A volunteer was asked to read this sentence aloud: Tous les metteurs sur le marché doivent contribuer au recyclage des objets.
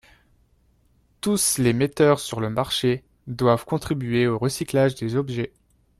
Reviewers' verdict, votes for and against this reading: rejected, 0, 2